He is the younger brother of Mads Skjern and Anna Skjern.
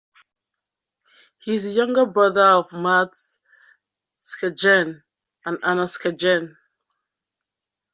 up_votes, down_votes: 2, 1